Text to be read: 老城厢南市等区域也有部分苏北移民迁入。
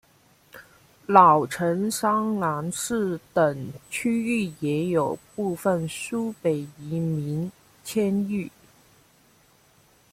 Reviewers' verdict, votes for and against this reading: rejected, 0, 2